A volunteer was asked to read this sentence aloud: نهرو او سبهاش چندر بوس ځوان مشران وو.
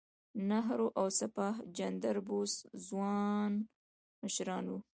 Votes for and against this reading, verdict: 2, 1, accepted